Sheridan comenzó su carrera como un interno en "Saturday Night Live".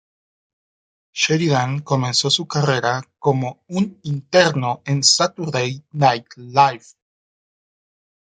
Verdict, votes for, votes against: accepted, 2, 0